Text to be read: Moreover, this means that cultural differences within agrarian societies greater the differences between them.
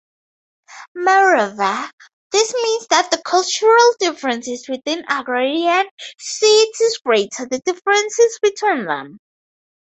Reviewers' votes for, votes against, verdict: 0, 2, rejected